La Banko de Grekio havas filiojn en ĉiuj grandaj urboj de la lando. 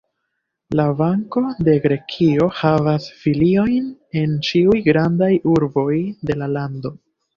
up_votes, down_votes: 2, 1